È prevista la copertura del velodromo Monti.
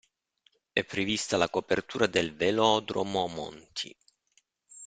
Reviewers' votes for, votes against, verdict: 2, 0, accepted